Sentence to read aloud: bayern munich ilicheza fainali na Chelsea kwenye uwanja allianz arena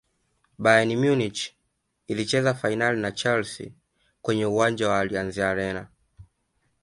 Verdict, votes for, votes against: accepted, 2, 0